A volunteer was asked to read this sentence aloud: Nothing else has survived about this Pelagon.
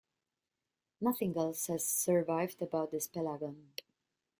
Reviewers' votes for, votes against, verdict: 0, 2, rejected